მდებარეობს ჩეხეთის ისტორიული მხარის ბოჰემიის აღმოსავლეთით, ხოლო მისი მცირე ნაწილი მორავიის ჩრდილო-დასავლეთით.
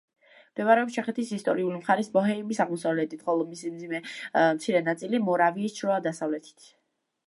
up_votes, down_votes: 1, 2